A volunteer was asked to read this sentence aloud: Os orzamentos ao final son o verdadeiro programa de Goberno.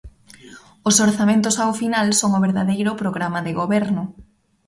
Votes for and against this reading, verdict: 2, 0, accepted